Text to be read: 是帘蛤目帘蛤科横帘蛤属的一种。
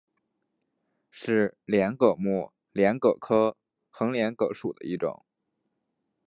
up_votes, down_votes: 1, 2